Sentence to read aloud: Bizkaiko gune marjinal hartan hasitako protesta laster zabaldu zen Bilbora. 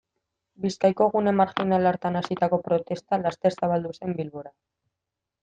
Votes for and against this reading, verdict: 2, 0, accepted